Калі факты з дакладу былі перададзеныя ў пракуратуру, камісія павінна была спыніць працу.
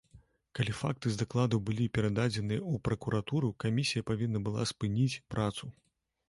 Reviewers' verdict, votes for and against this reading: accepted, 2, 0